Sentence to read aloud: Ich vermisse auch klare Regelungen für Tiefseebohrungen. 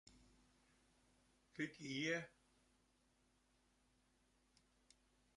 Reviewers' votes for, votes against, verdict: 0, 2, rejected